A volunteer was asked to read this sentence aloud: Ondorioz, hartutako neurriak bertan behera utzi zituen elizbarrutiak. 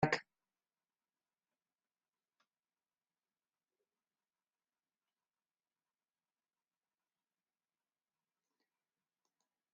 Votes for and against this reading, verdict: 0, 2, rejected